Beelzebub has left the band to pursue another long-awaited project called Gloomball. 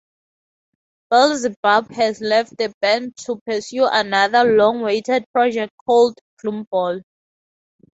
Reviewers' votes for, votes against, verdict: 2, 0, accepted